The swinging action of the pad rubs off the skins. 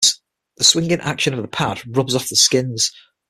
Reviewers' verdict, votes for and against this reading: rejected, 3, 6